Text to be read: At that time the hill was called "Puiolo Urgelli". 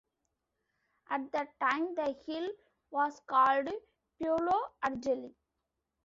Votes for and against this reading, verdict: 1, 2, rejected